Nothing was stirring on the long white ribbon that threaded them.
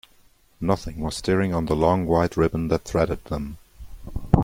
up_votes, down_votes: 2, 0